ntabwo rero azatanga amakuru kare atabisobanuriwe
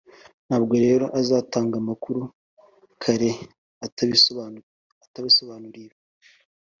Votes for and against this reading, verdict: 0, 2, rejected